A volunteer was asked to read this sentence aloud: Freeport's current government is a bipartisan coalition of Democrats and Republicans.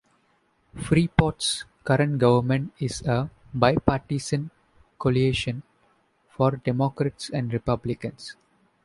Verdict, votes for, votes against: rejected, 1, 2